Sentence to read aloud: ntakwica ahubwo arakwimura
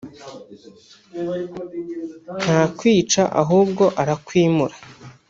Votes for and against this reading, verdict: 1, 2, rejected